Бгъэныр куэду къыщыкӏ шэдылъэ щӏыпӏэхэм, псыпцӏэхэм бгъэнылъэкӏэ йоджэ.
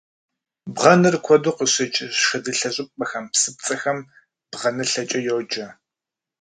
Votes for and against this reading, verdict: 1, 2, rejected